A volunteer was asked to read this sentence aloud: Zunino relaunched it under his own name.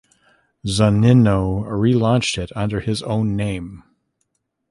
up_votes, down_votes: 2, 0